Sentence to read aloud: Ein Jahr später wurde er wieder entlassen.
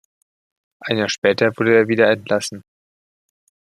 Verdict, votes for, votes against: rejected, 1, 2